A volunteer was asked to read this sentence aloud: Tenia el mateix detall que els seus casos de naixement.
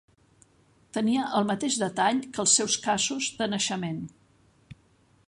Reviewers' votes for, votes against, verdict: 0, 2, rejected